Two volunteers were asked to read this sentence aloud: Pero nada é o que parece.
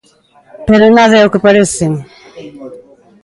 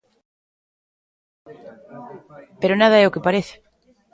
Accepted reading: first